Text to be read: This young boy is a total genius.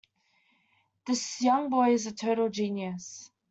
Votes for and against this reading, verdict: 2, 0, accepted